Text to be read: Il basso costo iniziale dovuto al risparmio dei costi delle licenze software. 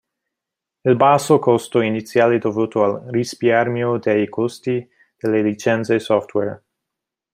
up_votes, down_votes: 0, 2